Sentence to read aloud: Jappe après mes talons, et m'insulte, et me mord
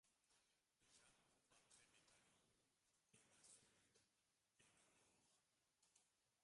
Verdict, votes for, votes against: rejected, 0, 2